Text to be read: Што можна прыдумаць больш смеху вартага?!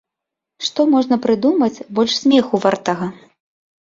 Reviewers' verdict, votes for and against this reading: accepted, 2, 1